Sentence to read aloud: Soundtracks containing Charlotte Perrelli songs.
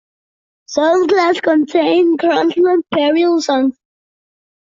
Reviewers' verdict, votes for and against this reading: rejected, 0, 2